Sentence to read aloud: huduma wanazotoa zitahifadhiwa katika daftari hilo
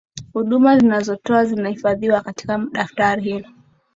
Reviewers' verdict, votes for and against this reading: accepted, 5, 0